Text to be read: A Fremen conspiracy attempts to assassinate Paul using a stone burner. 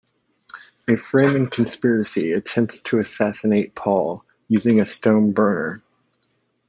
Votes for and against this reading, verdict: 1, 2, rejected